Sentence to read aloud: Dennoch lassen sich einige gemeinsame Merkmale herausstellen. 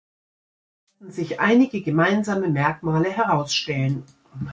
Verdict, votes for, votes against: rejected, 1, 2